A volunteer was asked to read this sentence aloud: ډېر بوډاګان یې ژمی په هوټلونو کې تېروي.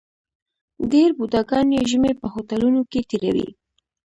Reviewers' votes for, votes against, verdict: 1, 2, rejected